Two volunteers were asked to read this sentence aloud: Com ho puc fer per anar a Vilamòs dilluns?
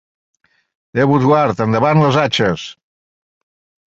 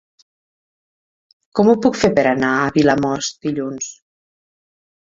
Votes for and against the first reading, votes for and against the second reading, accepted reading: 0, 2, 4, 0, second